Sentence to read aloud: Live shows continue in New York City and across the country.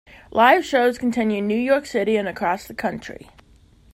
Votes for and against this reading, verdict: 2, 0, accepted